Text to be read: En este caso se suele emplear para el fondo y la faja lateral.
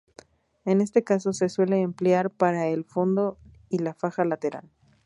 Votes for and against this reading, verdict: 0, 2, rejected